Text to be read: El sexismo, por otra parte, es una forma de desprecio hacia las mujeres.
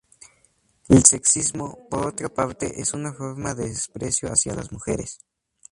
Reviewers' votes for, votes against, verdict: 2, 0, accepted